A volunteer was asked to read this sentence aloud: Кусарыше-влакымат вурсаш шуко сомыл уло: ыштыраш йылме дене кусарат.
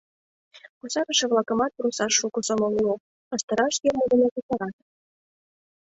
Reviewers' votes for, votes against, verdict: 0, 2, rejected